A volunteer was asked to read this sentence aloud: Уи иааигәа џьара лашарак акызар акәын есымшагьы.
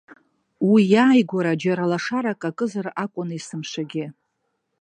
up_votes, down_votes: 0, 2